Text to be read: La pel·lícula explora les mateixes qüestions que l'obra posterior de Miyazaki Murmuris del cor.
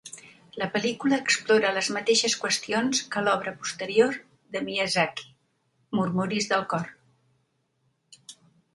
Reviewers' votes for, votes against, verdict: 2, 0, accepted